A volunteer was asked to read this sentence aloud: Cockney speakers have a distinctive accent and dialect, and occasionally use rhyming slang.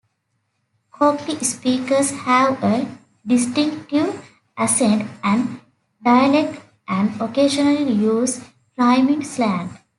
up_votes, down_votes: 3, 0